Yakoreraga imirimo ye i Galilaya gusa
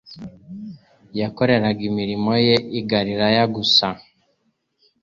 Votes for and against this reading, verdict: 3, 0, accepted